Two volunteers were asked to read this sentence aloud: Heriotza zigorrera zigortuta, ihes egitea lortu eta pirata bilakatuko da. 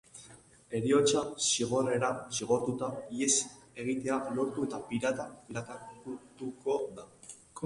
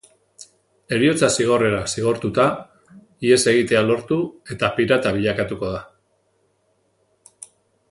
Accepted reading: second